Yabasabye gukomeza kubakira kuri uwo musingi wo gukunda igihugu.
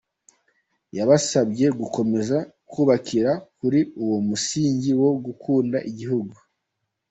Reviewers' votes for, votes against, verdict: 2, 0, accepted